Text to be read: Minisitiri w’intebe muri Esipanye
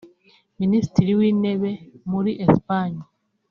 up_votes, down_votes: 3, 0